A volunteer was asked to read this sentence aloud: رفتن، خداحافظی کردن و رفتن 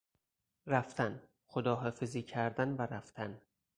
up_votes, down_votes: 4, 0